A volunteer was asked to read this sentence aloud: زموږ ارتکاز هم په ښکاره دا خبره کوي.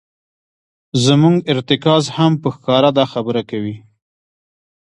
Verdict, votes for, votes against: rejected, 1, 2